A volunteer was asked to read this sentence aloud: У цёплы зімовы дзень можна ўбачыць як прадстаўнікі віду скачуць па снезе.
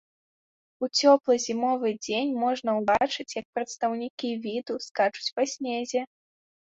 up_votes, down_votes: 2, 0